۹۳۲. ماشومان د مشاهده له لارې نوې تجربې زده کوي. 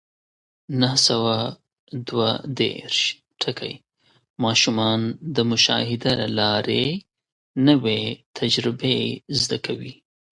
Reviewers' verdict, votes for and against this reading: rejected, 0, 2